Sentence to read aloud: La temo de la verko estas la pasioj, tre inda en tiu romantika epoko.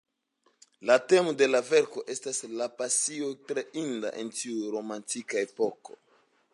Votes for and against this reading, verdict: 2, 0, accepted